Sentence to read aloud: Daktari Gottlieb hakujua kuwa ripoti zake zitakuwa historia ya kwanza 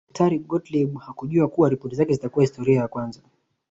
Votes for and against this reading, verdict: 2, 0, accepted